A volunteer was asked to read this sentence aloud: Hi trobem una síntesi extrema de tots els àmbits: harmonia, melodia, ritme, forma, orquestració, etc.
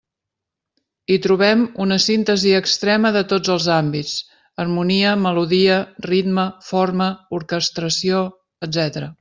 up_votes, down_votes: 3, 0